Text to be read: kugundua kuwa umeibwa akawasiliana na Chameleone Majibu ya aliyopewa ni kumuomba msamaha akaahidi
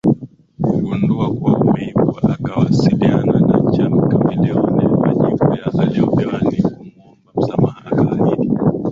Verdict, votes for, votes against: rejected, 0, 2